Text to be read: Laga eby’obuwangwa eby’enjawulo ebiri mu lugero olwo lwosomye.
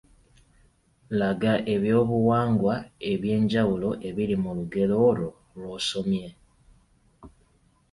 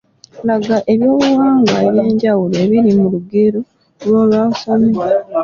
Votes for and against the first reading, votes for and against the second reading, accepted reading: 2, 0, 0, 2, first